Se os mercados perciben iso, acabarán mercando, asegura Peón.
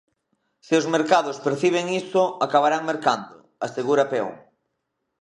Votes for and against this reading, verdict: 2, 0, accepted